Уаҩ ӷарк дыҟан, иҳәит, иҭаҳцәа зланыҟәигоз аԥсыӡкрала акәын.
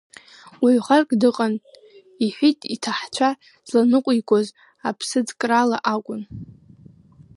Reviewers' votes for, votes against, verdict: 1, 2, rejected